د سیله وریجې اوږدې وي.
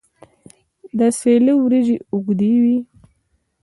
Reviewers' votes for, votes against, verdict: 2, 0, accepted